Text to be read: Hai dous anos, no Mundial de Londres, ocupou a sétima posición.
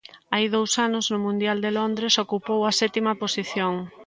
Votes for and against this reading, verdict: 2, 0, accepted